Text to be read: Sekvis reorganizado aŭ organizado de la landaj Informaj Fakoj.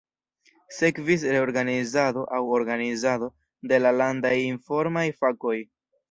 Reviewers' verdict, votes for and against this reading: rejected, 1, 2